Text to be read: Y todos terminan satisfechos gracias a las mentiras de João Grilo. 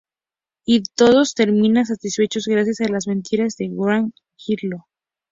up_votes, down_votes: 0, 2